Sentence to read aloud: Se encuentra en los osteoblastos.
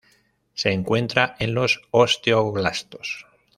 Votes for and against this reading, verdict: 0, 2, rejected